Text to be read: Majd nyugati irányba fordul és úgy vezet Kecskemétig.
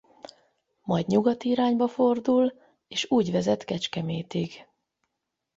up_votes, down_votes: 8, 0